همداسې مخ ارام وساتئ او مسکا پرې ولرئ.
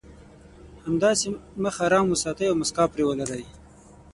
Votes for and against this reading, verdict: 6, 0, accepted